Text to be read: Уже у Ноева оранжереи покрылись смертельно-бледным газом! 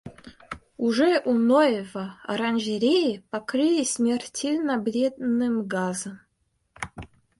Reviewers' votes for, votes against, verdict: 2, 1, accepted